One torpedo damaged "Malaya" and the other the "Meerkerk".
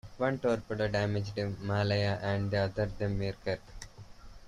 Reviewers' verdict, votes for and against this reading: rejected, 0, 2